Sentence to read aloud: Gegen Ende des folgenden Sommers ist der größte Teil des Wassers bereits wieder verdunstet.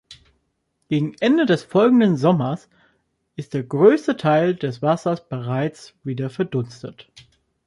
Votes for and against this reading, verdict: 2, 0, accepted